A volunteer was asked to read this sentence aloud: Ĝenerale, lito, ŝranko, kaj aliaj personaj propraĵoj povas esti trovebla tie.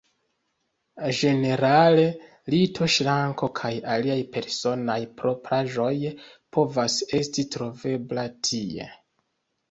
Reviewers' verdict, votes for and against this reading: rejected, 1, 2